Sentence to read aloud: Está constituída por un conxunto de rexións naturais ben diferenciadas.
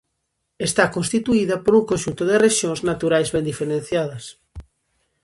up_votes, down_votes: 2, 0